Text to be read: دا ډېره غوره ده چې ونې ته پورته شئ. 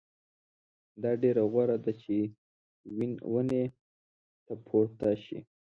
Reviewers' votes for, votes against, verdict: 1, 2, rejected